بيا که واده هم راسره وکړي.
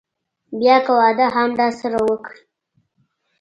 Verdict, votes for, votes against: accepted, 2, 0